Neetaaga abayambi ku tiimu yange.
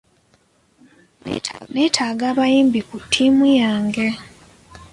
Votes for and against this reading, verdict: 2, 1, accepted